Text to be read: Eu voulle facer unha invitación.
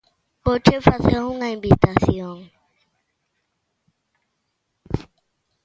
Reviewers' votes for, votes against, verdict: 0, 2, rejected